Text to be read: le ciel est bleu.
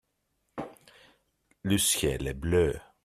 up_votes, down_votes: 2, 0